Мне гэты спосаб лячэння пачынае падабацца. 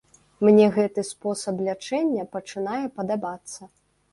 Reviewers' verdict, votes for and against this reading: accepted, 2, 0